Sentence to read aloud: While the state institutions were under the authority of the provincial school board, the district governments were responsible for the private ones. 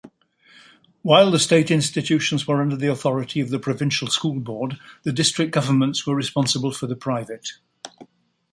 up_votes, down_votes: 0, 2